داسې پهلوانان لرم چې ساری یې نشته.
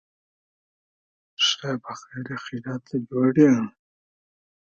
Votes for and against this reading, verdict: 1, 2, rejected